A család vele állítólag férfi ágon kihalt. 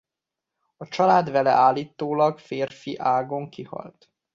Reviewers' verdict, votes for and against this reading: accepted, 2, 0